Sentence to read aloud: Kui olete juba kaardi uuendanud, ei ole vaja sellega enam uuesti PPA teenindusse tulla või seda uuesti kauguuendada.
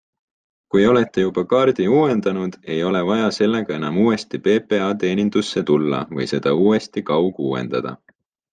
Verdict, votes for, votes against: accepted, 3, 0